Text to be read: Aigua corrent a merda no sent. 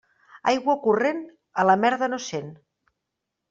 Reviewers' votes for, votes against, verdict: 0, 2, rejected